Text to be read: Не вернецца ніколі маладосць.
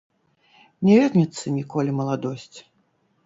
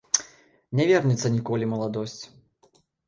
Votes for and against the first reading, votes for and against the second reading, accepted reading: 1, 2, 2, 0, second